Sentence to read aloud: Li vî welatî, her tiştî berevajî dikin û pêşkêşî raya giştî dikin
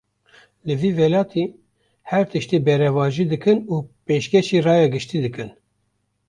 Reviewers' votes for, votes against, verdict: 0, 2, rejected